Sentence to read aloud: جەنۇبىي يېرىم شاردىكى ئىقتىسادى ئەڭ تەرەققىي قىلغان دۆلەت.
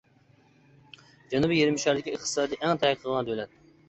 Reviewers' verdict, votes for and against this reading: rejected, 1, 2